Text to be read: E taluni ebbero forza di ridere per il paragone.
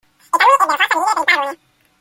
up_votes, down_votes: 0, 2